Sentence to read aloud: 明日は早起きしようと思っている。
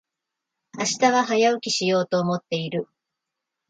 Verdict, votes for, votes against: accepted, 2, 0